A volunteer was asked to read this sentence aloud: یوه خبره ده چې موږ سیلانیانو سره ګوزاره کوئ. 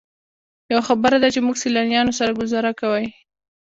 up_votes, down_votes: 1, 2